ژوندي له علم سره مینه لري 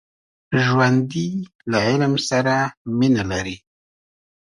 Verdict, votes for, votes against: accepted, 7, 0